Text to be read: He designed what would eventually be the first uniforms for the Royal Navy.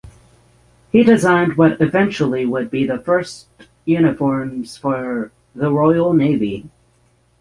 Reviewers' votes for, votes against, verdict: 0, 6, rejected